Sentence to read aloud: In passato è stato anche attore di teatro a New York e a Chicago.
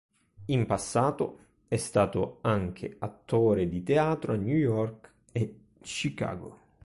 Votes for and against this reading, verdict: 1, 2, rejected